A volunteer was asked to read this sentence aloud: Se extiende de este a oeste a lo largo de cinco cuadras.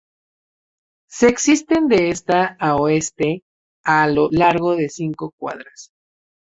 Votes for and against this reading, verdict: 0, 2, rejected